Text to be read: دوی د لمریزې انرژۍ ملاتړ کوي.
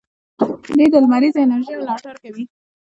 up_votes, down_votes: 2, 0